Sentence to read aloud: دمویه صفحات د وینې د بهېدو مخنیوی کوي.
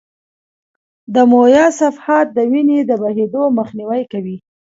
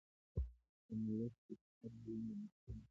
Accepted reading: first